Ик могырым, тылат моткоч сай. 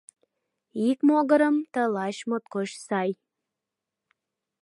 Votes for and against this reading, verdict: 0, 2, rejected